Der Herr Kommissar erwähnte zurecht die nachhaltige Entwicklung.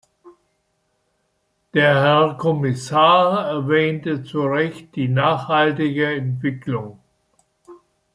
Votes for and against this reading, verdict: 2, 0, accepted